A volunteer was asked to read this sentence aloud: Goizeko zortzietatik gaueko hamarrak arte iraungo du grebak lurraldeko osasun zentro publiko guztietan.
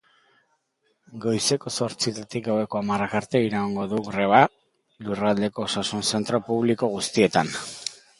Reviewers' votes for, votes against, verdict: 1, 2, rejected